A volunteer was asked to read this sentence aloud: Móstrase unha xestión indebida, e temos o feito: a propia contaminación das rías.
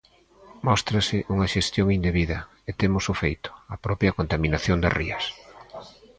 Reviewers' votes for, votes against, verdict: 2, 0, accepted